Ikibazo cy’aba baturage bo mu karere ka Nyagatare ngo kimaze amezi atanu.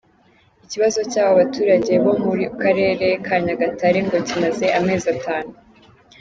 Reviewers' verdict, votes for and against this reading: accepted, 2, 0